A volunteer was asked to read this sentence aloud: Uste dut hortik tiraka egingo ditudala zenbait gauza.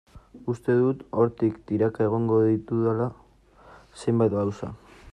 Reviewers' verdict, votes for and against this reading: rejected, 0, 2